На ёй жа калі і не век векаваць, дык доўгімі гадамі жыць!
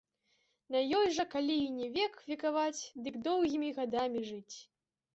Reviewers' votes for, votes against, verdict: 1, 2, rejected